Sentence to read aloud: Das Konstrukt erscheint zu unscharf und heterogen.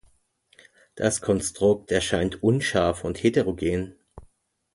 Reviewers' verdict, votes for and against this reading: rejected, 0, 2